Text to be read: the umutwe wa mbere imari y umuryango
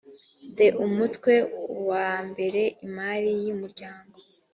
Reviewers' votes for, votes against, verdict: 2, 0, accepted